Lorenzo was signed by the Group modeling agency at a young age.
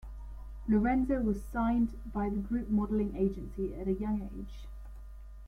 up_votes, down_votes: 2, 0